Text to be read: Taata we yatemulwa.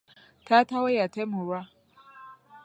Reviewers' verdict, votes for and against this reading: accepted, 2, 0